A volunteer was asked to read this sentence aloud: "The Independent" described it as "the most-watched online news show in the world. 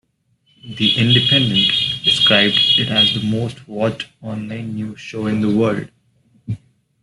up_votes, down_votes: 0, 2